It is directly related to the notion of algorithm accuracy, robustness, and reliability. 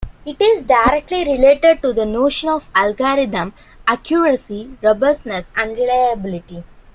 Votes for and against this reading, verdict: 2, 0, accepted